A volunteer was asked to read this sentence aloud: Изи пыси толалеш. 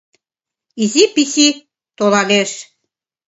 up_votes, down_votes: 1, 2